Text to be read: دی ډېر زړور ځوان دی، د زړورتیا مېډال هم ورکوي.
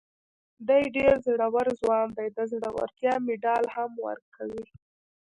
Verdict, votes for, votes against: rejected, 0, 2